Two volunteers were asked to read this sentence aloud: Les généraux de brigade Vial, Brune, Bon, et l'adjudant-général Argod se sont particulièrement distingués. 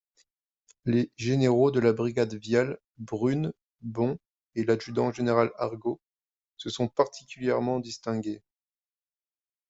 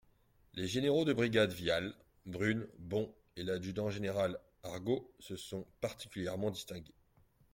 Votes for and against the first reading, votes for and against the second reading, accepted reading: 0, 2, 2, 0, second